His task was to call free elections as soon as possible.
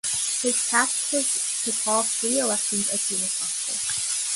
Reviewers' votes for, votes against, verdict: 3, 2, accepted